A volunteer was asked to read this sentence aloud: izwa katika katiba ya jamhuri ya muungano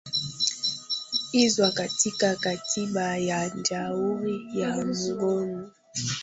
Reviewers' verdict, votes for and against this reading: rejected, 1, 2